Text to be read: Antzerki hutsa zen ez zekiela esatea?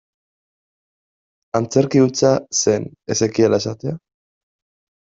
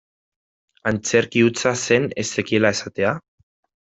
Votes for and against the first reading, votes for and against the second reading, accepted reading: 1, 2, 2, 0, second